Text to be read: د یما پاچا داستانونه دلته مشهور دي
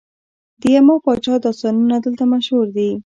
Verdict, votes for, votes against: rejected, 0, 2